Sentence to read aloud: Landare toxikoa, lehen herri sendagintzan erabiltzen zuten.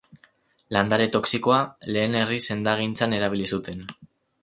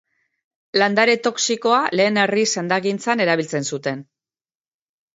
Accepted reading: second